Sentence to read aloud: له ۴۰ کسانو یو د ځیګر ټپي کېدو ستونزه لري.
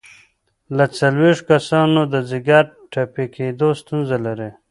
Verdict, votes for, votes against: rejected, 0, 2